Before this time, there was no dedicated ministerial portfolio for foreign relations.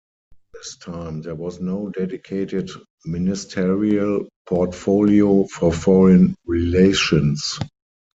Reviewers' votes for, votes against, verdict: 0, 4, rejected